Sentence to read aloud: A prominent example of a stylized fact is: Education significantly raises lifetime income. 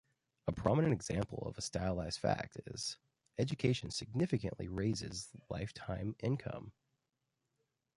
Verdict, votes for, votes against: accepted, 2, 0